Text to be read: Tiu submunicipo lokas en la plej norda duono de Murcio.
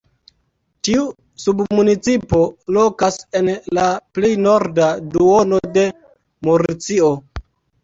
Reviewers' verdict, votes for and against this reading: accepted, 2, 1